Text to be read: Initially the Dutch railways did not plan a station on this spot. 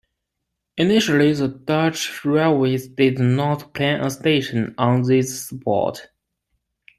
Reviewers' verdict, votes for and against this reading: accepted, 2, 0